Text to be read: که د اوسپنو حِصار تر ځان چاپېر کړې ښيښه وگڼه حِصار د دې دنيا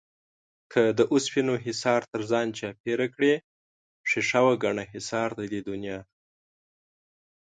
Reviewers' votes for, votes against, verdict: 2, 0, accepted